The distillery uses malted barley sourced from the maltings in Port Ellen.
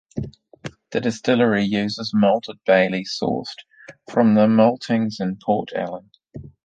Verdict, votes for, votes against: accepted, 2, 0